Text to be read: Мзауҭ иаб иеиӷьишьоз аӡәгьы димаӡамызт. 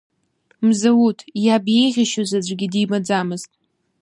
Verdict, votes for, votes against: accepted, 2, 0